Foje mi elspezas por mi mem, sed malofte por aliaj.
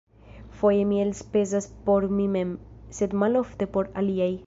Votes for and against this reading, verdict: 2, 0, accepted